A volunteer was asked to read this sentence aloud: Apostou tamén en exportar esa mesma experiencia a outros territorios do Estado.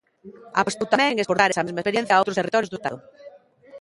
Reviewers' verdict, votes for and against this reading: rejected, 0, 2